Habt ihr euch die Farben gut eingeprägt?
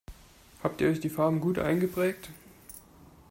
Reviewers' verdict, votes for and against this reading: accepted, 2, 0